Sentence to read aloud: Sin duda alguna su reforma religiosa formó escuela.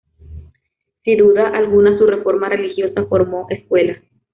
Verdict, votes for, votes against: rejected, 0, 2